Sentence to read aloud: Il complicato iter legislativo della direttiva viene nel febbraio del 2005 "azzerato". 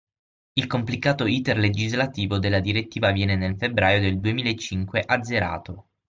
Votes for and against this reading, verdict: 0, 2, rejected